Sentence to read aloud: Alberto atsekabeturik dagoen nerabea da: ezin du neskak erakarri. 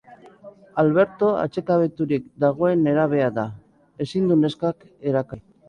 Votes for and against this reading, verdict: 1, 3, rejected